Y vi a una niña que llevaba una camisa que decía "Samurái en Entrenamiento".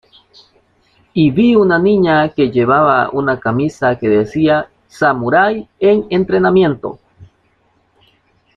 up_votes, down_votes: 1, 2